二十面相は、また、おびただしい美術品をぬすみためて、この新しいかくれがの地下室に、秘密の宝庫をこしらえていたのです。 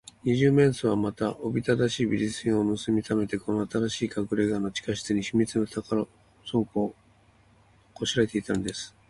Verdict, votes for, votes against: accepted, 2, 1